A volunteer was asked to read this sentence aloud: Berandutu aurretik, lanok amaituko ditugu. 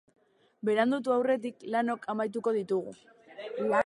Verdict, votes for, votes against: rejected, 0, 2